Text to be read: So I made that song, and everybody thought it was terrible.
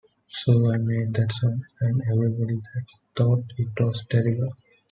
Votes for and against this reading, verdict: 0, 2, rejected